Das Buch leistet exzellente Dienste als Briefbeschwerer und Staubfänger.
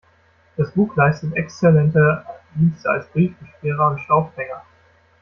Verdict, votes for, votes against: rejected, 1, 2